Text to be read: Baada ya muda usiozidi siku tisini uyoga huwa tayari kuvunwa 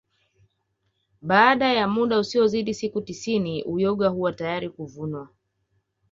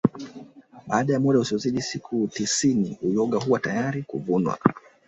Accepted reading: first